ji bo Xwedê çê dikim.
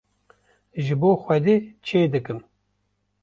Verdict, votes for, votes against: accepted, 2, 0